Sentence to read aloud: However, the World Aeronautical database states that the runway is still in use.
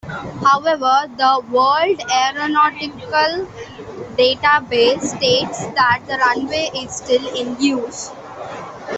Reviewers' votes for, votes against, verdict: 2, 1, accepted